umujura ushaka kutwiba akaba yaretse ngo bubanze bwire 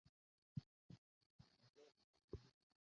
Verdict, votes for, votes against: rejected, 0, 2